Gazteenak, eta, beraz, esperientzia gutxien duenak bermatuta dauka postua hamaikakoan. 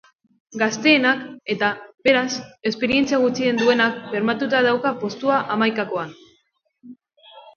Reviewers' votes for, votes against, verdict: 2, 0, accepted